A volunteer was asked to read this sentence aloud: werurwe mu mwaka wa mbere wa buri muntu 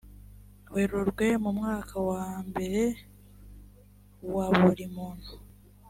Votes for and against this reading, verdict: 3, 0, accepted